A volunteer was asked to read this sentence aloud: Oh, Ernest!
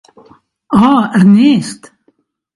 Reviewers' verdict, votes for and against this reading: accepted, 5, 0